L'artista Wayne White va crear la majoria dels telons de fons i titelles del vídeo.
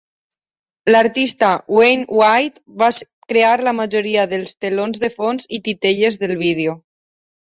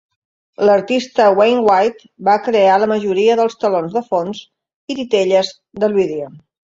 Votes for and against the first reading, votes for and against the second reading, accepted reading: 2, 6, 2, 0, second